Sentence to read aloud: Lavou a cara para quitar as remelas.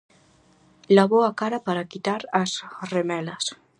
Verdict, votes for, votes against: rejected, 2, 2